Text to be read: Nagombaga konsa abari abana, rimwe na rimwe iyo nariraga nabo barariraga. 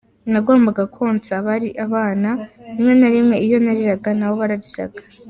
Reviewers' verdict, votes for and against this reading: accepted, 2, 0